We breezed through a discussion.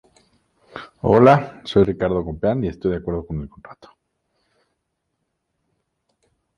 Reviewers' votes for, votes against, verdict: 0, 2, rejected